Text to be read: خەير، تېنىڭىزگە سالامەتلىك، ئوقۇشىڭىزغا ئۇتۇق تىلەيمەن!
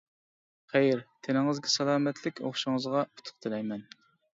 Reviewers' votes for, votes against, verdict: 2, 0, accepted